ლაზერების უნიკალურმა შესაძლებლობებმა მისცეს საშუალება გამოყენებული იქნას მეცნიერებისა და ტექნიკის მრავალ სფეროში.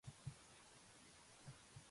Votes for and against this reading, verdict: 1, 2, rejected